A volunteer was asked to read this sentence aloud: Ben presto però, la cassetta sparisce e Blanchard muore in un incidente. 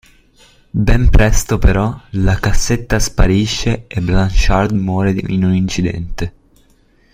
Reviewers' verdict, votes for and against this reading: rejected, 0, 2